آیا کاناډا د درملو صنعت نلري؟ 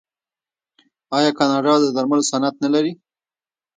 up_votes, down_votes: 1, 2